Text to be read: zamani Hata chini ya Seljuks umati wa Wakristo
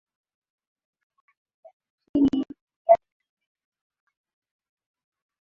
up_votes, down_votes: 0, 2